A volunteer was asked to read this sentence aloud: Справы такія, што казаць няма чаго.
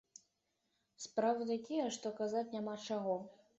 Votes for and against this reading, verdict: 2, 0, accepted